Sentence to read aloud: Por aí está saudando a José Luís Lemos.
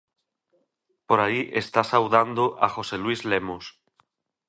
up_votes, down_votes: 2, 0